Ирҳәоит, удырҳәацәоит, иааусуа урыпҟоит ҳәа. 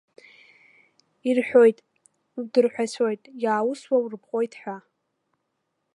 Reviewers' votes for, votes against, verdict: 2, 0, accepted